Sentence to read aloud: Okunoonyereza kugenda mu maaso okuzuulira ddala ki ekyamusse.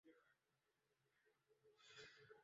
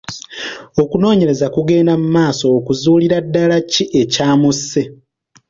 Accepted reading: second